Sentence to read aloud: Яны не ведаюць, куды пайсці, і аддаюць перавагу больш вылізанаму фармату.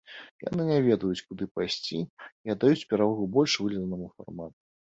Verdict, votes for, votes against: rejected, 0, 2